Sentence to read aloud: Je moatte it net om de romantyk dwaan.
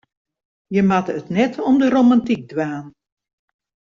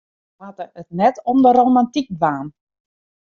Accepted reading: first